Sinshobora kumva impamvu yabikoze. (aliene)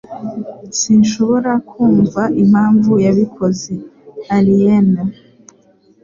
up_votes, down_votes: 2, 0